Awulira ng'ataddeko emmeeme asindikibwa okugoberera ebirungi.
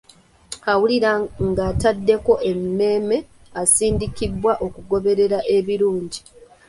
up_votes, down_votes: 2, 0